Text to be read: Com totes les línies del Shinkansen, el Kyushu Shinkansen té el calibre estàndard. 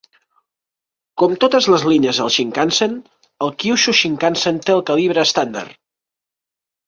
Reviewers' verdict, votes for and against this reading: rejected, 1, 2